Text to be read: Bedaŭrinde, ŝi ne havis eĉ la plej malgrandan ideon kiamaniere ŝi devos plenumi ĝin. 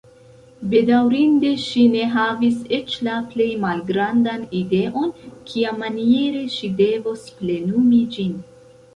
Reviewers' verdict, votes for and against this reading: rejected, 1, 2